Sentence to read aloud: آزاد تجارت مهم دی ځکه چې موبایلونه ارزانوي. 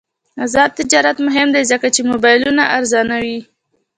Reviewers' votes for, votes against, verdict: 2, 0, accepted